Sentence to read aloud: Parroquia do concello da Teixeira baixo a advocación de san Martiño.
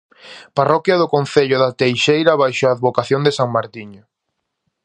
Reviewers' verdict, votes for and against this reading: accepted, 2, 0